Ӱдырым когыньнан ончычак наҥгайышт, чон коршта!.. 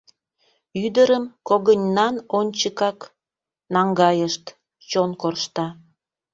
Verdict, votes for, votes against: rejected, 1, 2